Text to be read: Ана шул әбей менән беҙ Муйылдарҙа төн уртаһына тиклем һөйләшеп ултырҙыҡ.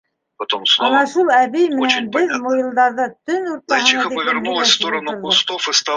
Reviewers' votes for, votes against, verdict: 0, 2, rejected